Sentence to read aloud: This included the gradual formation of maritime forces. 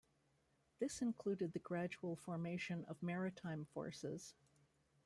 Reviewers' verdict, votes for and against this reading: rejected, 1, 2